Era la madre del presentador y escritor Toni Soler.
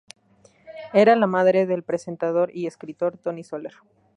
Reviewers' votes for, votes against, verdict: 2, 0, accepted